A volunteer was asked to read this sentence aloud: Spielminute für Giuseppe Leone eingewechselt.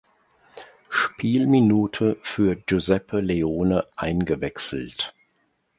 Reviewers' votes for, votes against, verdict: 2, 0, accepted